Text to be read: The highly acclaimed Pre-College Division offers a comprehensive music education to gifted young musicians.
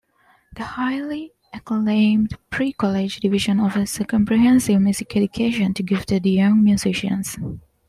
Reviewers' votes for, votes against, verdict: 2, 0, accepted